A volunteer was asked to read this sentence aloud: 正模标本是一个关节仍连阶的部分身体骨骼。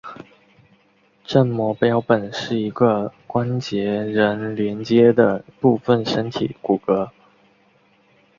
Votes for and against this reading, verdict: 2, 0, accepted